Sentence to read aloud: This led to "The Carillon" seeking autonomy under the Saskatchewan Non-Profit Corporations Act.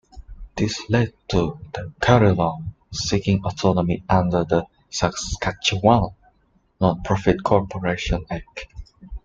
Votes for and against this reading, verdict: 1, 2, rejected